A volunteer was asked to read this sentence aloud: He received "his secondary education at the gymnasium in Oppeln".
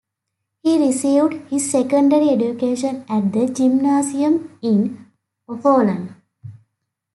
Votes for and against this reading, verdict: 0, 2, rejected